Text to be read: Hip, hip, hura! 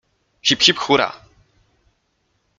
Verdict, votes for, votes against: accepted, 2, 0